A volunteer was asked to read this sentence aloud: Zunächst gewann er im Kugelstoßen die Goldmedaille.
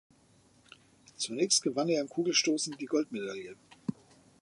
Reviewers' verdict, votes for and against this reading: accepted, 3, 0